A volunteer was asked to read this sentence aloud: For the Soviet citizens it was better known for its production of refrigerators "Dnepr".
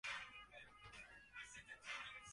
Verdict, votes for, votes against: rejected, 0, 2